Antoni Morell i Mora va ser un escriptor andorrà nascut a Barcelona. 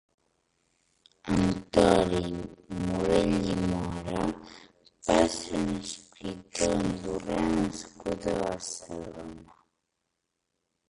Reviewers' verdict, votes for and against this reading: rejected, 0, 2